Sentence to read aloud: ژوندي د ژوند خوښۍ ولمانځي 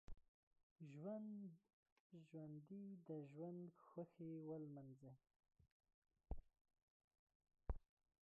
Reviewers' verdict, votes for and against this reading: rejected, 0, 2